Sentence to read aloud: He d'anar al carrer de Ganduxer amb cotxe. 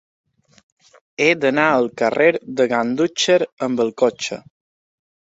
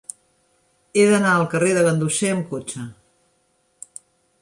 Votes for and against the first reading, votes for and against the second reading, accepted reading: 1, 2, 3, 0, second